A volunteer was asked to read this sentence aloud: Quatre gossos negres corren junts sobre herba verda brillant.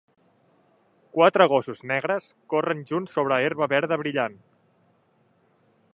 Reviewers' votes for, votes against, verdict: 3, 0, accepted